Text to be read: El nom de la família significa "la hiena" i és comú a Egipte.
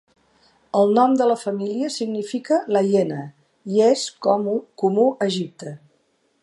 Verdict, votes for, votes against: rejected, 0, 2